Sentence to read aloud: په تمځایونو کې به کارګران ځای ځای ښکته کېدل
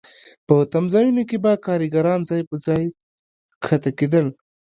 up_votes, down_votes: 2, 1